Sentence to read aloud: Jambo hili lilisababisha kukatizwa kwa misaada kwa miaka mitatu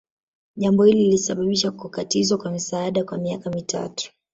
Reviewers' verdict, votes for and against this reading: rejected, 1, 2